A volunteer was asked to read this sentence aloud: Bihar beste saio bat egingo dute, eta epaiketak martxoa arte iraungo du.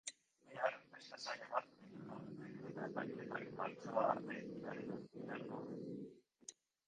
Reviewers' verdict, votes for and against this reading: rejected, 0, 3